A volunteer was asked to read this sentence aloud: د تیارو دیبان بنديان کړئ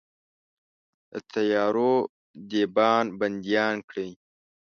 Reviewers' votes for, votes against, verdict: 1, 2, rejected